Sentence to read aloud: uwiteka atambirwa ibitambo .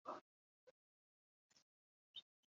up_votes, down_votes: 1, 2